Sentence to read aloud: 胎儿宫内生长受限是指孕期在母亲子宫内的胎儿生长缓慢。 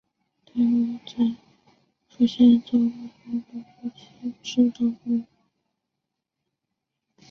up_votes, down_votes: 1, 2